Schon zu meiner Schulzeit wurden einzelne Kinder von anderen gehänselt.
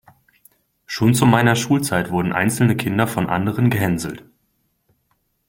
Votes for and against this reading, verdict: 2, 0, accepted